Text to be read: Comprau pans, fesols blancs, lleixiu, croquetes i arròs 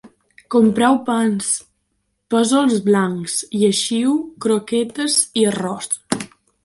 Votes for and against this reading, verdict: 2, 0, accepted